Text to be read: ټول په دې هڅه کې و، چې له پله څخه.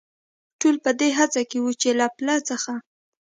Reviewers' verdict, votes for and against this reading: accepted, 2, 0